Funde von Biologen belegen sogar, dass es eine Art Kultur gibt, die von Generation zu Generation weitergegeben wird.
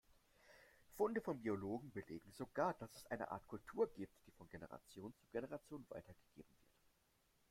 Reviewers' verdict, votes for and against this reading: rejected, 1, 2